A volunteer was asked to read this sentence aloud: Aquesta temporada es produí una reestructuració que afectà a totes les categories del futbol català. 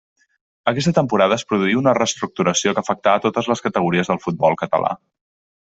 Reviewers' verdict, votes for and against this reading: accepted, 2, 0